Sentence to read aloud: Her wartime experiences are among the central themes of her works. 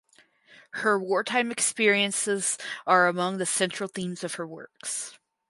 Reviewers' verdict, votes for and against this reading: accepted, 4, 0